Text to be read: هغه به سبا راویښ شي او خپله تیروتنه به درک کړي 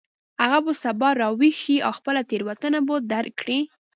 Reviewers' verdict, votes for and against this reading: rejected, 1, 2